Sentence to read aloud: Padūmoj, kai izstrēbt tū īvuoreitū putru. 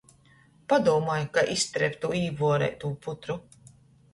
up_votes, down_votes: 2, 0